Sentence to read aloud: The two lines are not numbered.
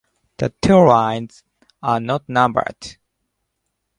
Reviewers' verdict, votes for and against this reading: accepted, 2, 1